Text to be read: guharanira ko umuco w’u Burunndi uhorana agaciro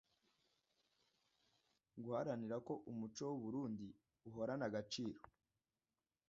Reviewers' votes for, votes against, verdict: 2, 0, accepted